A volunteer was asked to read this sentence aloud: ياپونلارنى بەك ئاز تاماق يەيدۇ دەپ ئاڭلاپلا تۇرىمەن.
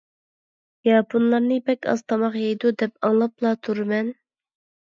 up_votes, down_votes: 2, 0